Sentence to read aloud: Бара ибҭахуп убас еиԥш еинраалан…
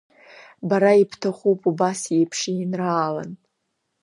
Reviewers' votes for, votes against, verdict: 2, 0, accepted